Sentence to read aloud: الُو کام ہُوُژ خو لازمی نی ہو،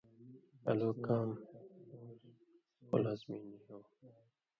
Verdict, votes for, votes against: rejected, 1, 2